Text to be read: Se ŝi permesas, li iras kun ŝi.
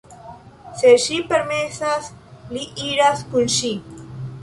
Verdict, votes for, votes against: rejected, 1, 2